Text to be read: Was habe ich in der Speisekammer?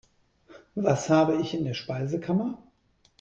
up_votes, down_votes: 2, 0